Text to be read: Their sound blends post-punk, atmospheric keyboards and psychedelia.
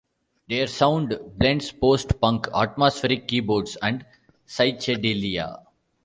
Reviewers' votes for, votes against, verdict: 0, 2, rejected